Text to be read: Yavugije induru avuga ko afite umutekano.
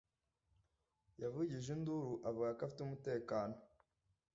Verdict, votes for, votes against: accepted, 2, 1